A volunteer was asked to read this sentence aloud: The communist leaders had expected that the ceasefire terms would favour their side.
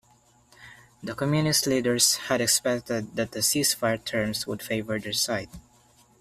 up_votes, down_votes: 2, 0